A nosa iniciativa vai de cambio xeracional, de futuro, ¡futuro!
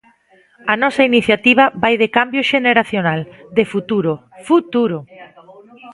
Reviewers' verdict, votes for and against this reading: rejected, 1, 2